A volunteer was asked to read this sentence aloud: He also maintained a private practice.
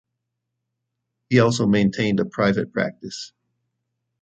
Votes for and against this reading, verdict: 2, 0, accepted